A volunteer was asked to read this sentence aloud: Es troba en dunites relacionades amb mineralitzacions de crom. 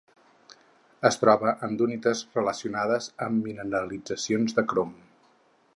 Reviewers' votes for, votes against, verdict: 2, 4, rejected